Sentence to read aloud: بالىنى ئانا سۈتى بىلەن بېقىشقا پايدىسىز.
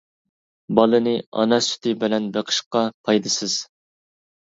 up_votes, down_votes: 2, 0